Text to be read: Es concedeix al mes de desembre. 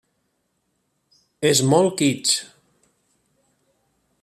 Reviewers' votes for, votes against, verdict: 0, 2, rejected